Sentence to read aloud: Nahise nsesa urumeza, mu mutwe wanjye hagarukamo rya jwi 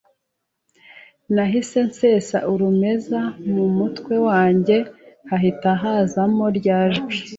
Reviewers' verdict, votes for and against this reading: rejected, 0, 2